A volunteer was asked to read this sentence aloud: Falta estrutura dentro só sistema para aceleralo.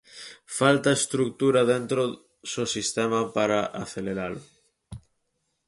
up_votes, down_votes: 4, 0